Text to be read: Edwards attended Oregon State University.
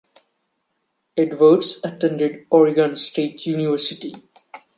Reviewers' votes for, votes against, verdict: 2, 0, accepted